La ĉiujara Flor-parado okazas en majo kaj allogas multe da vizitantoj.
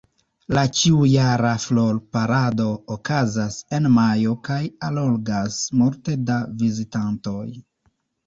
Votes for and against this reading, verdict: 0, 2, rejected